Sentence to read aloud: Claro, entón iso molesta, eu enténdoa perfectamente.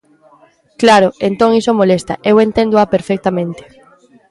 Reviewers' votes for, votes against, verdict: 3, 0, accepted